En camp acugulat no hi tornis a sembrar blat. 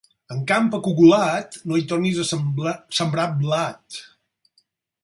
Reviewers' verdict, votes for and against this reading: rejected, 2, 4